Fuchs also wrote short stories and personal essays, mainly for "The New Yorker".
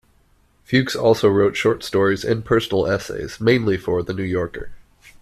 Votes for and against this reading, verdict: 2, 0, accepted